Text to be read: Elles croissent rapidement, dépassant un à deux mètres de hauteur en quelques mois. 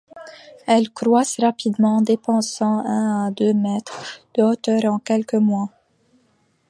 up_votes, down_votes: 2, 1